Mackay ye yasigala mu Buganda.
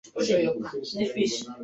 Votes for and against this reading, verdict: 0, 2, rejected